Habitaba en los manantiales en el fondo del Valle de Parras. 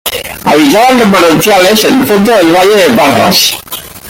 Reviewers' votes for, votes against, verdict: 0, 2, rejected